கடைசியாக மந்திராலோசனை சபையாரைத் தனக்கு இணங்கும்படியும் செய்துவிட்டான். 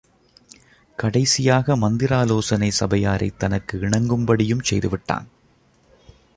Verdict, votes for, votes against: accepted, 2, 0